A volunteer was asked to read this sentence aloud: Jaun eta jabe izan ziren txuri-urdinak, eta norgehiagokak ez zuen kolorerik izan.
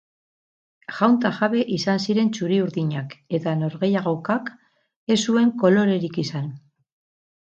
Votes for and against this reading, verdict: 4, 2, accepted